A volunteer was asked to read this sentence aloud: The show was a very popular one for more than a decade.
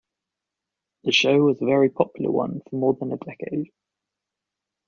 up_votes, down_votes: 0, 2